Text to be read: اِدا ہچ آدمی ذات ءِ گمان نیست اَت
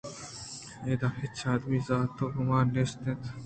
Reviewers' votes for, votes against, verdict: 1, 2, rejected